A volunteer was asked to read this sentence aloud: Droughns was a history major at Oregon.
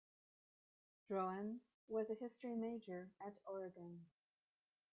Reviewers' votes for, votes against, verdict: 1, 2, rejected